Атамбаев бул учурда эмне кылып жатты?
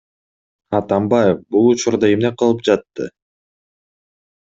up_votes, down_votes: 2, 0